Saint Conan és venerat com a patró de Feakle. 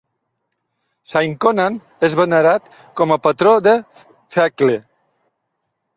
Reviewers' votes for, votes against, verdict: 0, 2, rejected